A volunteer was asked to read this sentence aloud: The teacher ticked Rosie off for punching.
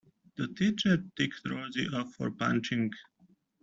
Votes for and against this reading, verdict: 2, 1, accepted